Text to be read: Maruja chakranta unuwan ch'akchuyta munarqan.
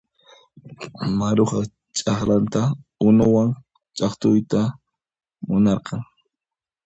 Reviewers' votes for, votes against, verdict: 0, 2, rejected